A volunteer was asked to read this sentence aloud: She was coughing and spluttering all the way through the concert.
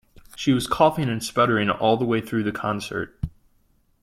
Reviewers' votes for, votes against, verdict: 0, 2, rejected